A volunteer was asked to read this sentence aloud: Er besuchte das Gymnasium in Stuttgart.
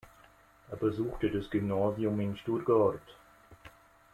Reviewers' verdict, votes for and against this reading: accepted, 2, 0